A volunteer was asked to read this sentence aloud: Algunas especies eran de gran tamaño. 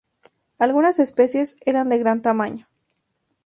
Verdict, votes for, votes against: accepted, 2, 0